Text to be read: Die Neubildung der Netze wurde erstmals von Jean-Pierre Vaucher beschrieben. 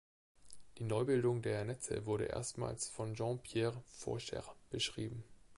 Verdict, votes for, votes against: accepted, 2, 0